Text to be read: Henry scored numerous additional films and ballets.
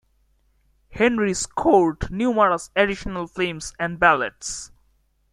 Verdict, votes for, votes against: rejected, 0, 2